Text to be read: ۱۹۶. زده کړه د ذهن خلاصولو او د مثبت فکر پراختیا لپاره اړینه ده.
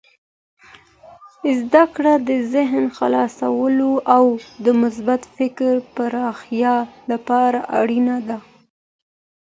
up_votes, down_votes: 0, 2